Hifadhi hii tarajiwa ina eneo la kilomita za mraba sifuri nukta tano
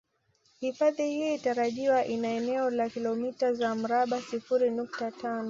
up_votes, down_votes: 2, 1